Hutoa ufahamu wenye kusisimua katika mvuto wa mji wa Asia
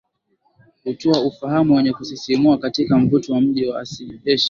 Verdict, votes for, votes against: accepted, 2, 1